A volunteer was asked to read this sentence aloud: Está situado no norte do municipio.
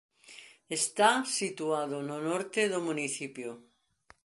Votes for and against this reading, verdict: 2, 0, accepted